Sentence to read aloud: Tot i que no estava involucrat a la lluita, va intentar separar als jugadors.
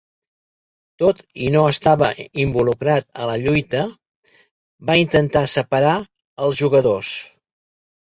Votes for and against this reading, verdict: 0, 2, rejected